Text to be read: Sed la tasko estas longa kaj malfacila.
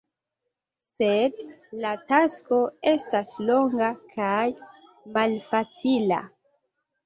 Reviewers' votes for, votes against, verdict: 2, 0, accepted